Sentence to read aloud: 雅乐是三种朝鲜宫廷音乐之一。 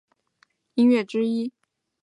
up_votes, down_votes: 1, 4